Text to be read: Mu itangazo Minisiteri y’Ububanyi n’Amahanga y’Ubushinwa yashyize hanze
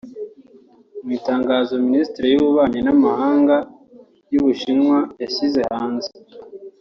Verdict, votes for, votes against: rejected, 0, 2